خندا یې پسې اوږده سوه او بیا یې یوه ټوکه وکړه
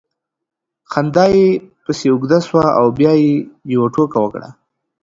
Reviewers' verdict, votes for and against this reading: accepted, 2, 0